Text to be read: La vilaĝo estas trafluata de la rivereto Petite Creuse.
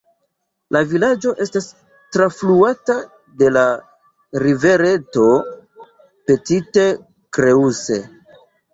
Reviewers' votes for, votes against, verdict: 2, 0, accepted